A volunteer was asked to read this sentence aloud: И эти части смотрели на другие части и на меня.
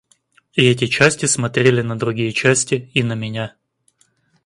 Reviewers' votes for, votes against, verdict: 2, 1, accepted